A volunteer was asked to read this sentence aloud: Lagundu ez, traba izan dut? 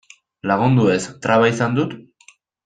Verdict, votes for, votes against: accepted, 2, 0